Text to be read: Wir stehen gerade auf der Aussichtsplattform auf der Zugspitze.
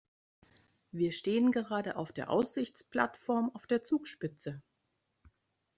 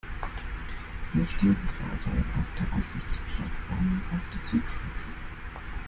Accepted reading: first